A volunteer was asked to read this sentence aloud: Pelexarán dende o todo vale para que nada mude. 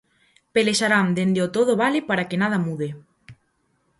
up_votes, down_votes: 4, 0